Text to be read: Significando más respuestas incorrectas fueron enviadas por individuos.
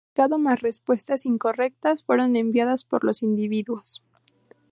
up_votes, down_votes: 0, 4